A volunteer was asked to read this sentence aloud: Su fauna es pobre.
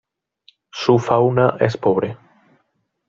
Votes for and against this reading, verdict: 2, 0, accepted